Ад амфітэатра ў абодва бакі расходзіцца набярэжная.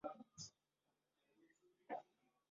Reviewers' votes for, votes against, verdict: 0, 2, rejected